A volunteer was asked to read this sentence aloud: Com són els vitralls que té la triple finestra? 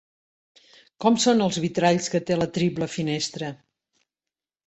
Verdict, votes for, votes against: accepted, 2, 0